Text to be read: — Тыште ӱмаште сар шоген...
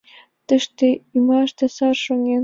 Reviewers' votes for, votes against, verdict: 0, 2, rejected